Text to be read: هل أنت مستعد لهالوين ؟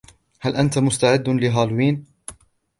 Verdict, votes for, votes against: accepted, 2, 0